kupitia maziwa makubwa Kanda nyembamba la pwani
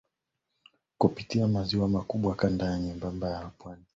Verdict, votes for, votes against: accepted, 2, 1